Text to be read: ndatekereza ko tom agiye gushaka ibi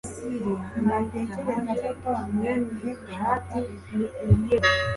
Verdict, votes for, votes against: rejected, 1, 2